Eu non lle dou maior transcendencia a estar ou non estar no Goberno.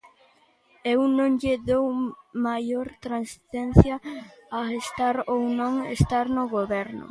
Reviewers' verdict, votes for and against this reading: rejected, 0, 2